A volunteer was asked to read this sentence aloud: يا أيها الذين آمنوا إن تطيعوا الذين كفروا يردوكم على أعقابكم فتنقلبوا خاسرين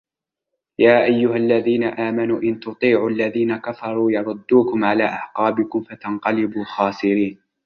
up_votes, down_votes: 2, 0